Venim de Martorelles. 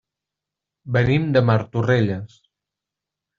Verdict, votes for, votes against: rejected, 0, 2